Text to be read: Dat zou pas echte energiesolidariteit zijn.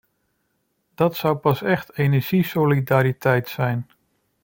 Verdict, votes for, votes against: rejected, 0, 2